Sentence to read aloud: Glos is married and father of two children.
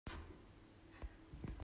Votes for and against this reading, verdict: 0, 2, rejected